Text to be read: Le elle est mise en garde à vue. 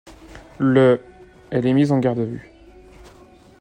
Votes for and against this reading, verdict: 2, 0, accepted